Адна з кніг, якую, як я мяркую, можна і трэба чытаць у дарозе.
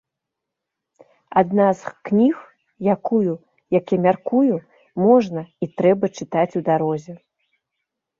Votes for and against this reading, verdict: 2, 0, accepted